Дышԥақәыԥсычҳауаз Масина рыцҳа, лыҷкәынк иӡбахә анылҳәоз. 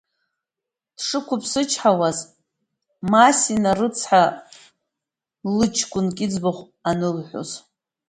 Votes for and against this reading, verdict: 2, 0, accepted